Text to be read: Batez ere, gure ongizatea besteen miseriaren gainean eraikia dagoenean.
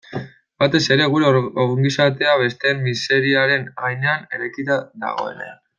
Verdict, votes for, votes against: rejected, 0, 2